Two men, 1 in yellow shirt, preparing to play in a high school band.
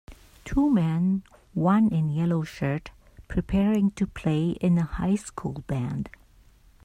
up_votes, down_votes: 0, 2